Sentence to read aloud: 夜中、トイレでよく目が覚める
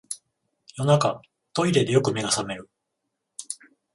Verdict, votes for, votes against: rejected, 7, 14